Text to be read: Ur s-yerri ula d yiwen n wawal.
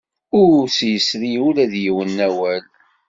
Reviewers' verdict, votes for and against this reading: rejected, 1, 2